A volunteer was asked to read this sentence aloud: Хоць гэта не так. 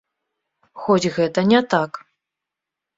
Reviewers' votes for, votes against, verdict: 2, 0, accepted